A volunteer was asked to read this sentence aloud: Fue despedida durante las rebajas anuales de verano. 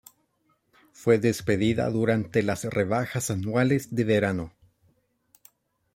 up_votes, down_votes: 2, 0